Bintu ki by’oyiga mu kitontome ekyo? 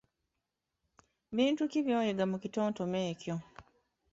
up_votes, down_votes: 0, 2